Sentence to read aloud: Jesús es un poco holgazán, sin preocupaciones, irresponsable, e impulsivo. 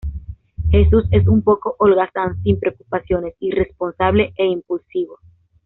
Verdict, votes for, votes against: accepted, 2, 0